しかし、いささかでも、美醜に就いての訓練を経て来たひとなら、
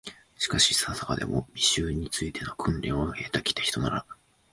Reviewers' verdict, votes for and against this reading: accepted, 2, 0